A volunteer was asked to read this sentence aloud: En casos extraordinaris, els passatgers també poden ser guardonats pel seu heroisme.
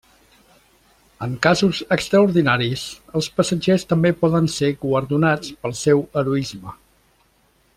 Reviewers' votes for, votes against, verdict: 2, 0, accepted